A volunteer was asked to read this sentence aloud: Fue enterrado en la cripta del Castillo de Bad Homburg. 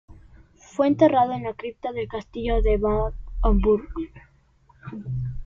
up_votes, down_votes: 1, 2